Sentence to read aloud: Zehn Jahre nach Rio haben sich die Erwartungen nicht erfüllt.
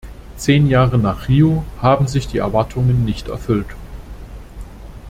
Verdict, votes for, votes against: accepted, 2, 0